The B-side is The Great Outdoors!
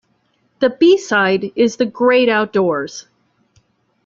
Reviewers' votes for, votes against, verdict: 2, 0, accepted